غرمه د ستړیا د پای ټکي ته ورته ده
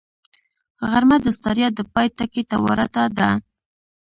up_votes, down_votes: 1, 2